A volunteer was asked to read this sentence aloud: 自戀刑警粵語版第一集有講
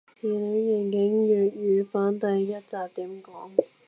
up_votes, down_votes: 0, 2